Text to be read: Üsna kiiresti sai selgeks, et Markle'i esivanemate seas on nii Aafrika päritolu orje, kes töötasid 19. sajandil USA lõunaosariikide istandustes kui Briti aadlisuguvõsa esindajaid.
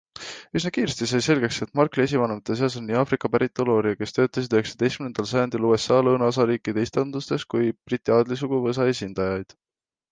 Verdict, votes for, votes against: rejected, 0, 2